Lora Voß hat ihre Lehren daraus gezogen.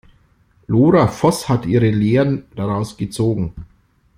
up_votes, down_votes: 2, 0